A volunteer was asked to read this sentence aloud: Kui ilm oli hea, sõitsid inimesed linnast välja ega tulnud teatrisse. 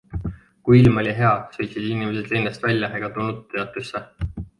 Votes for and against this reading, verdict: 2, 0, accepted